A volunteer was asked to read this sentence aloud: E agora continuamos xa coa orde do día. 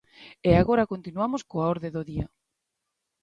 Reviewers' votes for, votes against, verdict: 1, 2, rejected